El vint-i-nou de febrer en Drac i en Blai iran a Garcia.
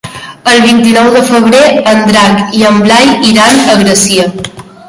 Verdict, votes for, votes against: rejected, 0, 2